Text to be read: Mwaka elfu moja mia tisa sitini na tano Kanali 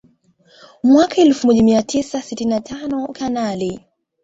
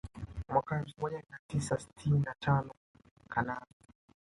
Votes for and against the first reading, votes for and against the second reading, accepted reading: 2, 0, 1, 2, first